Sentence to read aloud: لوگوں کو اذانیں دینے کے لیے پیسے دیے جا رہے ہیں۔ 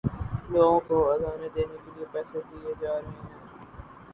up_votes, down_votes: 0, 2